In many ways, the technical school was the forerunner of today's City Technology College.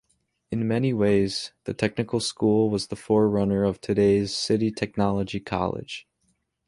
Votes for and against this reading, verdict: 2, 0, accepted